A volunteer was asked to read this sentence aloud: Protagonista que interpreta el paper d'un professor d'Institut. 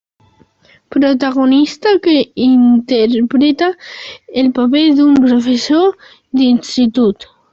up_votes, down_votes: 3, 0